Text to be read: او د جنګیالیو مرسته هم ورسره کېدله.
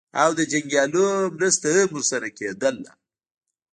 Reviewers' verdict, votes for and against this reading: rejected, 0, 2